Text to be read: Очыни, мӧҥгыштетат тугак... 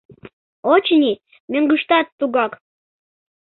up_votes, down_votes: 0, 2